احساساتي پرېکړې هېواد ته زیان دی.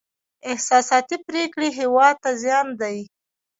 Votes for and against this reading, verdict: 2, 0, accepted